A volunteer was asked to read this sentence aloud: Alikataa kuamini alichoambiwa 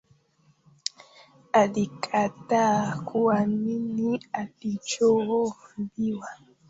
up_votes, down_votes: 1, 2